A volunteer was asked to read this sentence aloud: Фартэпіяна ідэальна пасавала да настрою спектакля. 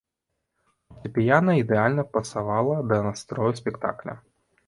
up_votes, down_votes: 2, 0